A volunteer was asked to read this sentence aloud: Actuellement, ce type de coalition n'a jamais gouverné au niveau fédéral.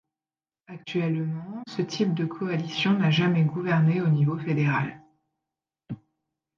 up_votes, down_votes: 2, 0